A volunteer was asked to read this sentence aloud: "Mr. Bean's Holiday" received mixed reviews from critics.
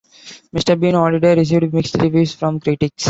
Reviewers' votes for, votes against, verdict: 0, 2, rejected